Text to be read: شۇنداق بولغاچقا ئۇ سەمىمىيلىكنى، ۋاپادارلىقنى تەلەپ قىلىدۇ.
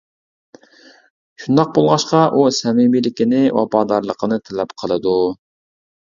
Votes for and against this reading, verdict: 1, 2, rejected